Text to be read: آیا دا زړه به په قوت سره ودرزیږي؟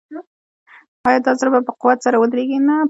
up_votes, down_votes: 1, 2